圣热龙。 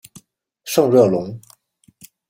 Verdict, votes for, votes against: accepted, 2, 0